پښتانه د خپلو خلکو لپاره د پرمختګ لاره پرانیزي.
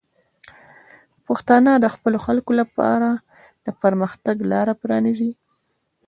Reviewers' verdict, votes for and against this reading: accepted, 2, 0